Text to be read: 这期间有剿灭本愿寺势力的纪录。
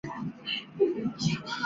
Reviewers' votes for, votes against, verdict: 1, 2, rejected